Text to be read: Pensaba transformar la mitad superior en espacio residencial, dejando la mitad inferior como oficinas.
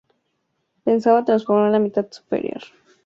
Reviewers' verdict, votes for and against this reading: rejected, 0, 2